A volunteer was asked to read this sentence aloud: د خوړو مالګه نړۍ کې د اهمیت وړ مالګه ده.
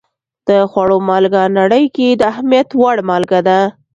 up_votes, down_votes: 2, 0